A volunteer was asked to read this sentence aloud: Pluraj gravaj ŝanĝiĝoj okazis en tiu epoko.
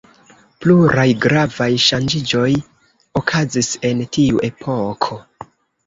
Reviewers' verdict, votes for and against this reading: accepted, 2, 1